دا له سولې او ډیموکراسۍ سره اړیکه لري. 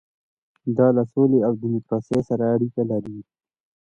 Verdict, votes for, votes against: accepted, 2, 0